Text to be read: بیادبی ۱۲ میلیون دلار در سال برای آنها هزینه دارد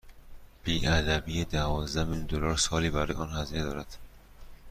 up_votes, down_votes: 0, 2